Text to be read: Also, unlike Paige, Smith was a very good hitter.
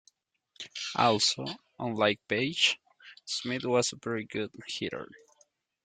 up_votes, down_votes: 2, 0